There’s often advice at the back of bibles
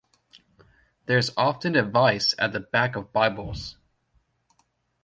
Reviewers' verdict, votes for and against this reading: accepted, 2, 0